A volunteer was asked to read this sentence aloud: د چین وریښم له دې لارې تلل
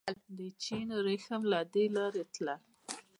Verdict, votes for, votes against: accepted, 2, 0